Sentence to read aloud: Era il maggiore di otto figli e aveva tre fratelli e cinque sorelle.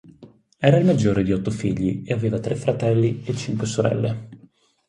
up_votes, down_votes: 4, 0